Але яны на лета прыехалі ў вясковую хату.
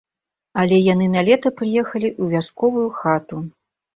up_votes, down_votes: 2, 0